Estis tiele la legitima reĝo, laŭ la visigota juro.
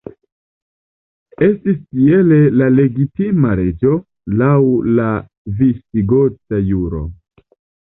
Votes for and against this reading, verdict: 2, 1, accepted